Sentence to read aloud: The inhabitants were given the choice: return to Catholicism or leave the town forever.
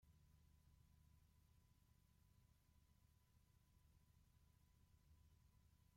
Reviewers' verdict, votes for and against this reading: rejected, 0, 3